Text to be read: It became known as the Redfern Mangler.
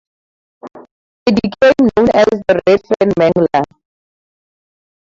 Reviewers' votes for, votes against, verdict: 0, 2, rejected